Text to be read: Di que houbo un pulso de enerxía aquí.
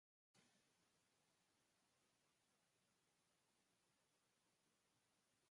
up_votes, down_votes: 0, 4